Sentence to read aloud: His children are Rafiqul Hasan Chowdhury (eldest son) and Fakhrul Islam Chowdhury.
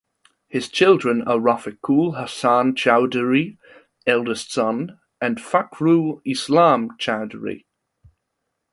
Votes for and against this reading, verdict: 2, 0, accepted